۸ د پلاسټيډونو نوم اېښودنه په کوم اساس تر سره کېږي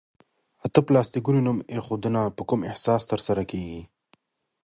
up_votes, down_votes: 0, 2